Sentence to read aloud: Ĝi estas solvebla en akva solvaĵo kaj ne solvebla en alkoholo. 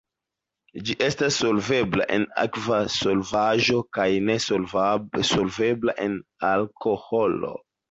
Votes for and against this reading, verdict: 0, 2, rejected